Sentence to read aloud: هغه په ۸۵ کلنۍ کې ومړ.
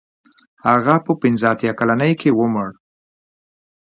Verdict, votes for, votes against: rejected, 0, 2